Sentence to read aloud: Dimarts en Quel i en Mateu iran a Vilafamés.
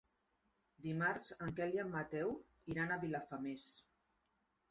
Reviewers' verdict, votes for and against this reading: accepted, 3, 0